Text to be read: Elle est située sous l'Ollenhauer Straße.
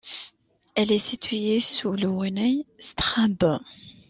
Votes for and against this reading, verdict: 0, 2, rejected